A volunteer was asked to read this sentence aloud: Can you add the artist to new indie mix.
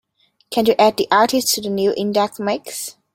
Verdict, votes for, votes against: rejected, 0, 2